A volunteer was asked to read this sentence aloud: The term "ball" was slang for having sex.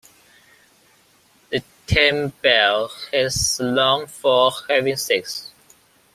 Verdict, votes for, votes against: rejected, 1, 2